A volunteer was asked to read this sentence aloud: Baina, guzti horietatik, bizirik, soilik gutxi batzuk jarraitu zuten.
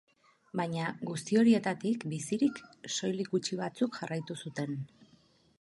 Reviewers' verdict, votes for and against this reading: accepted, 6, 0